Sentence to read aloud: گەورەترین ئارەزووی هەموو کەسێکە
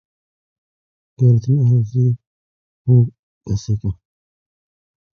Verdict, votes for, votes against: rejected, 0, 2